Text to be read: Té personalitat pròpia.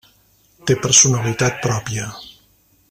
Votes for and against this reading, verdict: 1, 2, rejected